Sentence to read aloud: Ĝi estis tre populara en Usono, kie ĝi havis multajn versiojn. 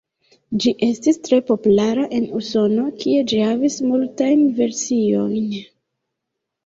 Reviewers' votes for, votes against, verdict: 1, 2, rejected